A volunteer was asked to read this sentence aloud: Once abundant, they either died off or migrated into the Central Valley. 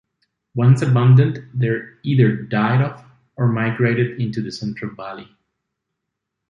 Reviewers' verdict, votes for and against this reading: accepted, 2, 0